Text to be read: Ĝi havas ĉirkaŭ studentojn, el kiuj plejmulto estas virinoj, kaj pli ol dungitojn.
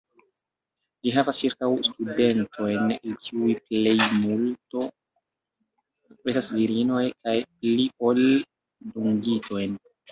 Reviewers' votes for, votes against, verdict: 0, 2, rejected